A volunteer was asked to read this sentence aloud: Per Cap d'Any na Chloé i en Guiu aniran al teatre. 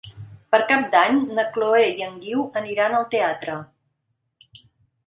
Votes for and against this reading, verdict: 2, 0, accepted